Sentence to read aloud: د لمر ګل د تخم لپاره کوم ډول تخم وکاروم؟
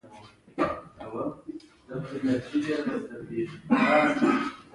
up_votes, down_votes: 0, 2